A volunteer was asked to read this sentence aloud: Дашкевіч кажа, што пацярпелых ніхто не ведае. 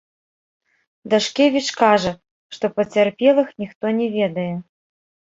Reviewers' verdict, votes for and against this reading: rejected, 0, 2